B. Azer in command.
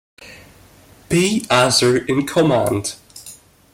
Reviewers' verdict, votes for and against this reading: accepted, 2, 0